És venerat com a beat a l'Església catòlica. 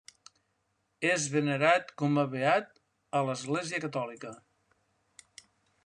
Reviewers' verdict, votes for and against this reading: accepted, 2, 0